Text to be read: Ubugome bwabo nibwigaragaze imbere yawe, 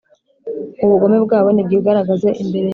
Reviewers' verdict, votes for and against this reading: rejected, 1, 2